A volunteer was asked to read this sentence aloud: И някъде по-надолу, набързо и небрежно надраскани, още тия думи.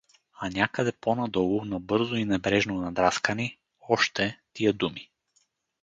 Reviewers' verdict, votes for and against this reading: rejected, 2, 4